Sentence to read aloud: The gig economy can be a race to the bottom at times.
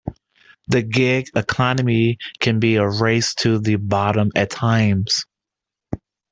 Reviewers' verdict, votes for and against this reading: accepted, 2, 0